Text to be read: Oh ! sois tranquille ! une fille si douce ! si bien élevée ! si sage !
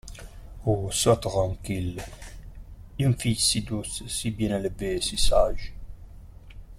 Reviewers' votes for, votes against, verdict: 2, 0, accepted